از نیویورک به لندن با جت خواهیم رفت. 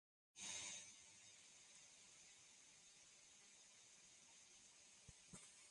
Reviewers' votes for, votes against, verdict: 0, 2, rejected